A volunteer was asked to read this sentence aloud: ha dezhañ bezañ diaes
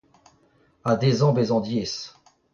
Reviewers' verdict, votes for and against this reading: rejected, 1, 2